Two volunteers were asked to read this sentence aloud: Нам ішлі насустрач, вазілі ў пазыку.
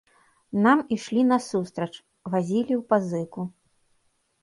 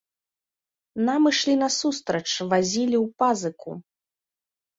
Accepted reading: first